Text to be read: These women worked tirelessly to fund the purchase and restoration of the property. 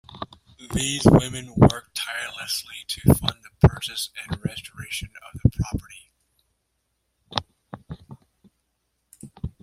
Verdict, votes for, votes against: rejected, 0, 2